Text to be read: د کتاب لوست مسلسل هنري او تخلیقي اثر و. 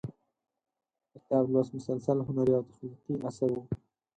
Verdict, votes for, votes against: rejected, 4, 10